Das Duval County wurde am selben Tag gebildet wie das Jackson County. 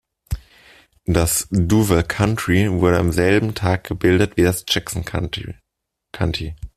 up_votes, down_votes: 0, 2